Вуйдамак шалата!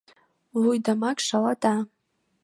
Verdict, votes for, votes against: accepted, 2, 0